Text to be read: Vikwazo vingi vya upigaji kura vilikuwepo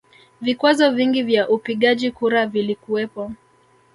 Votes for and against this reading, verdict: 0, 2, rejected